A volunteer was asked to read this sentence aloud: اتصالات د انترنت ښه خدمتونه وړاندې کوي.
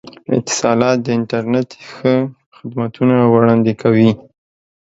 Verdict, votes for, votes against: accepted, 2, 0